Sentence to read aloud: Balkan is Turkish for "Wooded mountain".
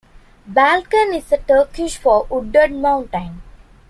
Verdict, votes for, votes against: rejected, 1, 2